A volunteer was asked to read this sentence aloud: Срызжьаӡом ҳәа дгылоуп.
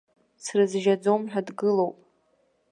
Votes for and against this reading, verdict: 2, 0, accepted